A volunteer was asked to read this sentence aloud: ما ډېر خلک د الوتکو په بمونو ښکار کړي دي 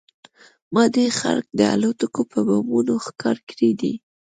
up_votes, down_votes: 2, 0